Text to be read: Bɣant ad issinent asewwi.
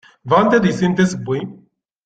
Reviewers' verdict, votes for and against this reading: accepted, 2, 0